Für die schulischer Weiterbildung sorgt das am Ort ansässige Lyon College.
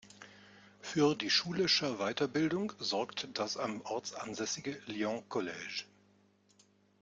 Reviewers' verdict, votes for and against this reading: accepted, 2, 1